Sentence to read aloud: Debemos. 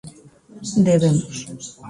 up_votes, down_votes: 2, 0